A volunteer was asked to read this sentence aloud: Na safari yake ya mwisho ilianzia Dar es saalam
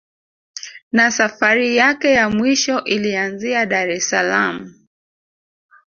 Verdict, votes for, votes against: accepted, 2, 0